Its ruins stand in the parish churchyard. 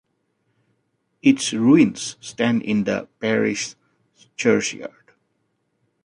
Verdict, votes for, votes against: rejected, 1, 2